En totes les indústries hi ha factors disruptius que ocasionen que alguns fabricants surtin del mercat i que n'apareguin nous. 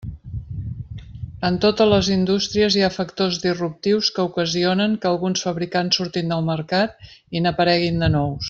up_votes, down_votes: 0, 2